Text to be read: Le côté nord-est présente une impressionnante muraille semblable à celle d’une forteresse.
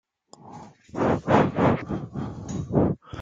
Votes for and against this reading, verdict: 0, 2, rejected